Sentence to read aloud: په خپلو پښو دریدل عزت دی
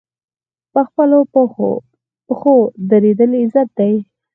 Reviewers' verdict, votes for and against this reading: rejected, 2, 4